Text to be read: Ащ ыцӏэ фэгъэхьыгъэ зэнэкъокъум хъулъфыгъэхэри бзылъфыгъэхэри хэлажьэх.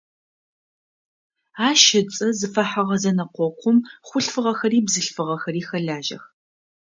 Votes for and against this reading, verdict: 0, 2, rejected